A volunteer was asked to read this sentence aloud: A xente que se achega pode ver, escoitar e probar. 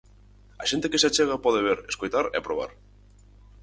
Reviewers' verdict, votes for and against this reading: accepted, 6, 0